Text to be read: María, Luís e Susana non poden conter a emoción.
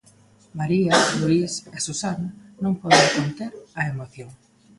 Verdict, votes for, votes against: rejected, 0, 2